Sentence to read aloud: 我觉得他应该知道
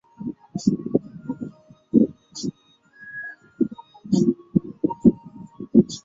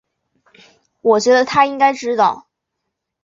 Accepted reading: second